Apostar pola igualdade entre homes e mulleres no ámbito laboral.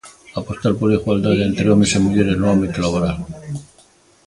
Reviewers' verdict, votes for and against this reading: accepted, 2, 0